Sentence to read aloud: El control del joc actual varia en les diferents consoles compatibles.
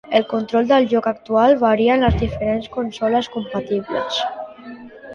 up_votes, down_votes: 2, 1